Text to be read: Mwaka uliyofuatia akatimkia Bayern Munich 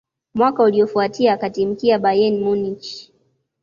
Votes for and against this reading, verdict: 2, 0, accepted